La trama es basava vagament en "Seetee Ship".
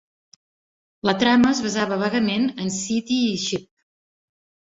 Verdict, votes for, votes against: accepted, 2, 0